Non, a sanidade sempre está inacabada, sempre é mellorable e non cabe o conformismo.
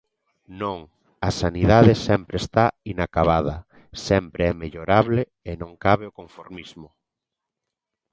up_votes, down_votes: 2, 0